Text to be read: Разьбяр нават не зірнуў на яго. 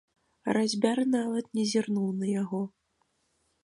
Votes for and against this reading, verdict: 2, 0, accepted